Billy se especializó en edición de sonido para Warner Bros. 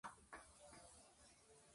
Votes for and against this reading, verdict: 0, 2, rejected